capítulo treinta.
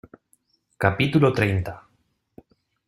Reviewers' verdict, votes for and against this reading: accepted, 2, 0